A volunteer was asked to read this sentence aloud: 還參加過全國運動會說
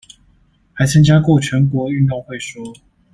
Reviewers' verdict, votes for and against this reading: accepted, 2, 0